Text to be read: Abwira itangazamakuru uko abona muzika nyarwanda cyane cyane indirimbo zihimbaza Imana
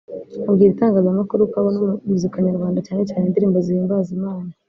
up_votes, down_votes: 1, 2